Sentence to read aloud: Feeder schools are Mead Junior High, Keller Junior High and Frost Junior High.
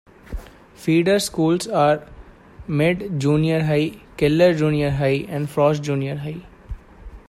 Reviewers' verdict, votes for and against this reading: rejected, 1, 2